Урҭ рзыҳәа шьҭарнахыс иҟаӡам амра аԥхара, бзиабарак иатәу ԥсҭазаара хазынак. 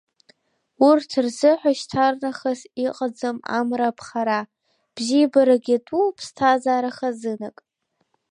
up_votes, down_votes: 3, 1